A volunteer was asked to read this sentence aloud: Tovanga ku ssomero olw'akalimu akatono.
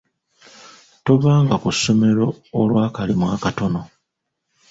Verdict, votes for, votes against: accepted, 2, 0